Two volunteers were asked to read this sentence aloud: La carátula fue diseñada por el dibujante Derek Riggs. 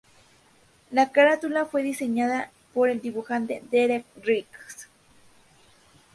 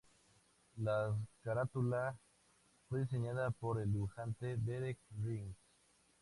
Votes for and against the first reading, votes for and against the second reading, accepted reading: 2, 0, 0, 2, first